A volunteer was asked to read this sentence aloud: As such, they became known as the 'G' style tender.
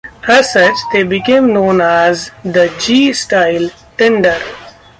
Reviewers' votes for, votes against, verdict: 2, 0, accepted